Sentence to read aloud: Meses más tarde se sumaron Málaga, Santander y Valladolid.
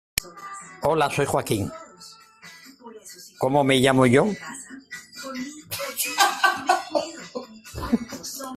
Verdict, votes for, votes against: rejected, 0, 2